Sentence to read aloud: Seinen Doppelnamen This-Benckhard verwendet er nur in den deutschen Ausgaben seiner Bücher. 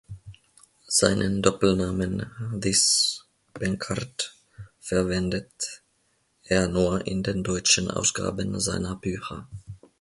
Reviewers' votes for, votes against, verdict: 3, 1, accepted